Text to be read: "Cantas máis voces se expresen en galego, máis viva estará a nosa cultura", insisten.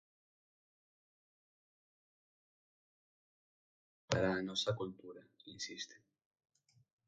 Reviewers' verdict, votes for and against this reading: rejected, 0, 6